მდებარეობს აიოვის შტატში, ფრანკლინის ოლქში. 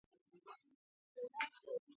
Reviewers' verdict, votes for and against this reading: accepted, 2, 1